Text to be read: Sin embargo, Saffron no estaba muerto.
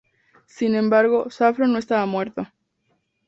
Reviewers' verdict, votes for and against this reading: accepted, 4, 0